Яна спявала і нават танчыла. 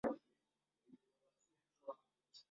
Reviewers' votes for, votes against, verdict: 0, 2, rejected